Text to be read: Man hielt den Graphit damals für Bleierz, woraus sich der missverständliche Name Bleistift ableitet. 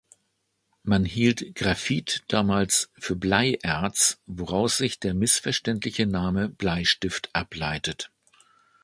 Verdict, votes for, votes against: rejected, 0, 2